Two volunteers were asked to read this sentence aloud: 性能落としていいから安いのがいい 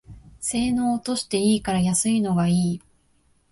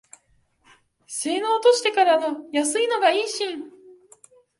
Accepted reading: first